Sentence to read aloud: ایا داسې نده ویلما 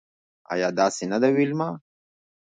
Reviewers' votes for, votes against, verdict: 0, 2, rejected